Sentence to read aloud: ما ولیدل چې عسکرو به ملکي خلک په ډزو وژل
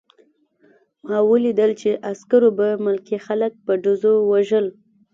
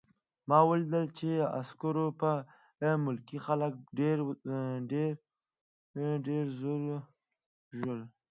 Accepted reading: first